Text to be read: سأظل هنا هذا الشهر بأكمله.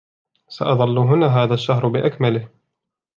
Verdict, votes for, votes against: accepted, 2, 0